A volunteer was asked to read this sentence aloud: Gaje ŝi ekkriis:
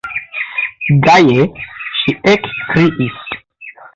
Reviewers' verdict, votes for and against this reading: rejected, 0, 2